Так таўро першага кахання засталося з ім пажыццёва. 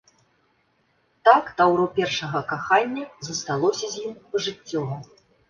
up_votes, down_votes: 2, 0